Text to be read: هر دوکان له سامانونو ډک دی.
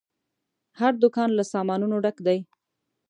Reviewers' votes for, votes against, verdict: 2, 0, accepted